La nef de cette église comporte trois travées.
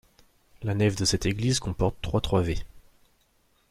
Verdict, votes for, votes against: rejected, 0, 2